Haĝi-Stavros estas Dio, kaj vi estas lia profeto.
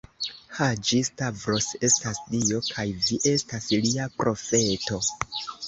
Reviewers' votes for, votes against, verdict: 2, 0, accepted